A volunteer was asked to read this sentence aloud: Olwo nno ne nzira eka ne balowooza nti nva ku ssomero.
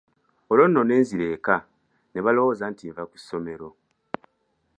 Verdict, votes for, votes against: accepted, 2, 0